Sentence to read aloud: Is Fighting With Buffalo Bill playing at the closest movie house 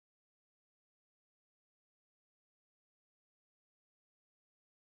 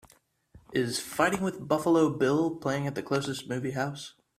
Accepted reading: second